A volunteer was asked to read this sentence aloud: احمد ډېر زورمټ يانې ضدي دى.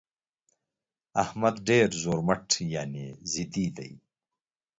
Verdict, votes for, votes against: accepted, 2, 0